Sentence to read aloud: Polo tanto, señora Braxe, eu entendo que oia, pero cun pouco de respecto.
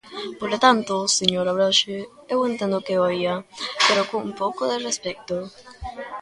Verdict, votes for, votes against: rejected, 0, 2